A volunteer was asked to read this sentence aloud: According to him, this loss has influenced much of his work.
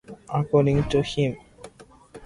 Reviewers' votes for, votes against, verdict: 0, 2, rejected